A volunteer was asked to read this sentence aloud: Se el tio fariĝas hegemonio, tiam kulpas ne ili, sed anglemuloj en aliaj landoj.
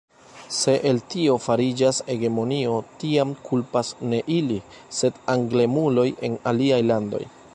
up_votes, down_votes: 1, 2